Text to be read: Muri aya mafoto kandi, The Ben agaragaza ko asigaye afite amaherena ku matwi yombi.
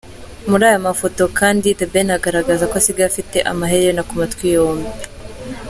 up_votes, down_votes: 2, 0